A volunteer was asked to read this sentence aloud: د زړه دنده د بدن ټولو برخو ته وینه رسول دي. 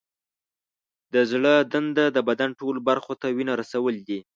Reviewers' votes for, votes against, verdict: 2, 0, accepted